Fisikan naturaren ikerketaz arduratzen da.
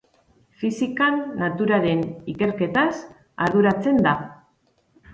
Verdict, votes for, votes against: accepted, 2, 0